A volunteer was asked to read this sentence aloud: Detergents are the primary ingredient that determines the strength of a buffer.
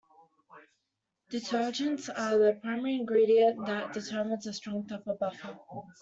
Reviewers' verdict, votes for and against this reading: rejected, 1, 2